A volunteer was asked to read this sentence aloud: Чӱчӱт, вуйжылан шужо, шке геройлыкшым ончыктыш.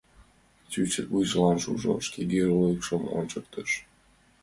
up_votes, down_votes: 2, 0